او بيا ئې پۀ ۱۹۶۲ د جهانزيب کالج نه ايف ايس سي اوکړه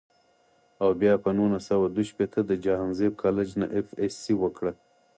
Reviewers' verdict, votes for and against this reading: rejected, 0, 2